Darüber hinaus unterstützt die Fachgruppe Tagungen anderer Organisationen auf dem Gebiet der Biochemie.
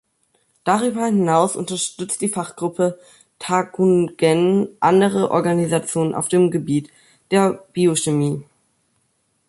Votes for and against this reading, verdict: 0, 2, rejected